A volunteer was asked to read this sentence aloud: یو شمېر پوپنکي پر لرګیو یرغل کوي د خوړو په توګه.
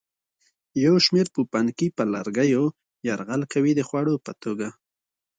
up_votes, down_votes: 2, 0